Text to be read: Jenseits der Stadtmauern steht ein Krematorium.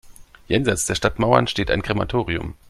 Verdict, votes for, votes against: accepted, 2, 0